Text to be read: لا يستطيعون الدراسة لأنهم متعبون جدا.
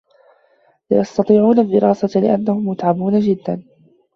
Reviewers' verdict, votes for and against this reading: accepted, 2, 0